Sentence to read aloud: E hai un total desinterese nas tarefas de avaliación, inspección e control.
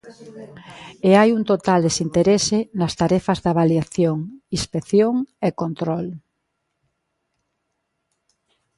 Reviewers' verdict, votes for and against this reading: rejected, 0, 2